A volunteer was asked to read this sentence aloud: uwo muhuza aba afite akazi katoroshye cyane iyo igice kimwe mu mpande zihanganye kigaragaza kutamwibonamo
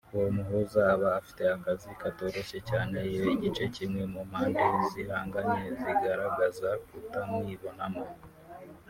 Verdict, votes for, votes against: rejected, 0, 2